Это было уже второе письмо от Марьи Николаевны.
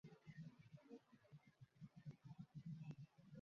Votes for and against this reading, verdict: 0, 2, rejected